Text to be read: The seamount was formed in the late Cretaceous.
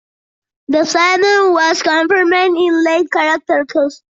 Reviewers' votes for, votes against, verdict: 1, 2, rejected